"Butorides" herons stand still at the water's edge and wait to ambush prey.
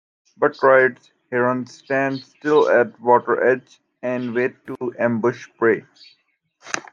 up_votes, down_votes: 1, 2